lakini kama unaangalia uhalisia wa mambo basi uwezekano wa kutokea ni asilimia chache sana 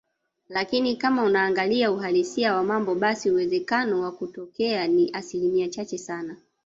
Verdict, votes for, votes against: rejected, 0, 2